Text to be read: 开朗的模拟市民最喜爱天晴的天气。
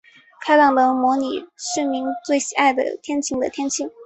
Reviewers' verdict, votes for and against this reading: rejected, 1, 2